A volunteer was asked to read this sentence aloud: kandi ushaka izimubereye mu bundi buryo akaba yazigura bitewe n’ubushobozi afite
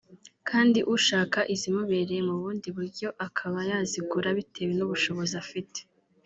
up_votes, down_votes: 2, 1